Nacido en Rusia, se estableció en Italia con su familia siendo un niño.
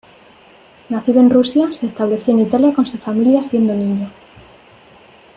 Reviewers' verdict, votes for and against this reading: rejected, 1, 2